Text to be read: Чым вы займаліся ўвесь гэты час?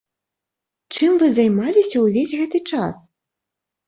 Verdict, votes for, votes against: accepted, 3, 0